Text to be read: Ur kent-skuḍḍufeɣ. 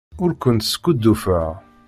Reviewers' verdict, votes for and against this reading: rejected, 1, 2